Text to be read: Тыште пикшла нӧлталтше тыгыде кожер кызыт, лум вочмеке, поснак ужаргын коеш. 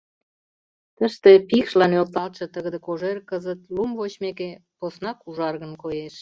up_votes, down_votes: 2, 0